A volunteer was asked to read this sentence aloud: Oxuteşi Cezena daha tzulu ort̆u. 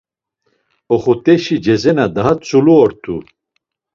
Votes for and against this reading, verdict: 2, 0, accepted